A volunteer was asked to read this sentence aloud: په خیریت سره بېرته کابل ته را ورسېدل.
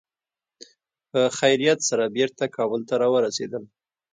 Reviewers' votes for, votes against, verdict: 2, 0, accepted